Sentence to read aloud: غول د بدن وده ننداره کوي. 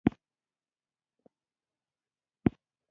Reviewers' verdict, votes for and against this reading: rejected, 0, 3